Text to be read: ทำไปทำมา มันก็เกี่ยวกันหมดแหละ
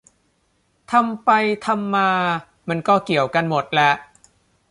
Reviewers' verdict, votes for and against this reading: accepted, 2, 0